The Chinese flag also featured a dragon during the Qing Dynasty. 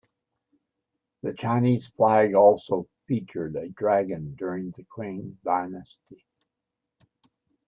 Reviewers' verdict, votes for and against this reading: rejected, 0, 2